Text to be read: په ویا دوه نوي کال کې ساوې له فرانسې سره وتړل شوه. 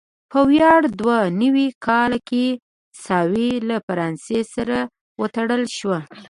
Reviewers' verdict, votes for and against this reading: accepted, 3, 0